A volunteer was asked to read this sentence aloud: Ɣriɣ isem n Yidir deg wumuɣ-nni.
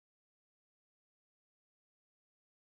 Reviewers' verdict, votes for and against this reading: rejected, 0, 2